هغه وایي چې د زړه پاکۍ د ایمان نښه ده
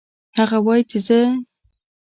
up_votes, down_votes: 1, 2